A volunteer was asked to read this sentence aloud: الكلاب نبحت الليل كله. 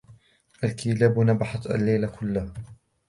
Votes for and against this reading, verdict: 2, 0, accepted